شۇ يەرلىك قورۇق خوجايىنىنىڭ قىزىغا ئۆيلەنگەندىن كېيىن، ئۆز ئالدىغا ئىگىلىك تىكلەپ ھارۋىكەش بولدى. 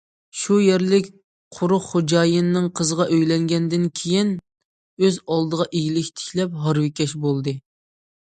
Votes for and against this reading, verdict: 2, 0, accepted